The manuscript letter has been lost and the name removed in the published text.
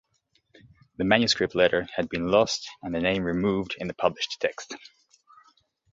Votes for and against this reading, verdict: 0, 2, rejected